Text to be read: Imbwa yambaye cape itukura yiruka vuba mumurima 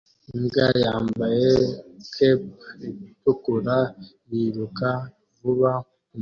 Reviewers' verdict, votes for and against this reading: rejected, 0, 2